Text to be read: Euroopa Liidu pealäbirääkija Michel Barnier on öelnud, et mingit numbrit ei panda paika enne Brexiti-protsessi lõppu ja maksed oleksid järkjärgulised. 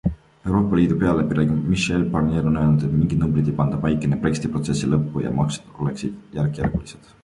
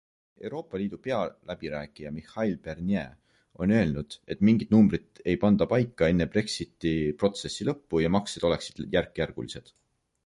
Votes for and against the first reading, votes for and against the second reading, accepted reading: 1, 2, 2, 0, second